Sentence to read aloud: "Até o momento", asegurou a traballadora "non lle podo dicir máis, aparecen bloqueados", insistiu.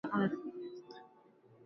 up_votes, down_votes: 0, 2